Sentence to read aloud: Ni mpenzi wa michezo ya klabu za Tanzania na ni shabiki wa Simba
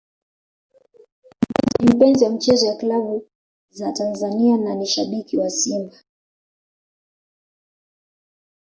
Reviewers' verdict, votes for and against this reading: accepted, 2, 1